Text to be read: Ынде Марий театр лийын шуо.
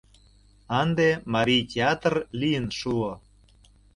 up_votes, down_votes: 2, 0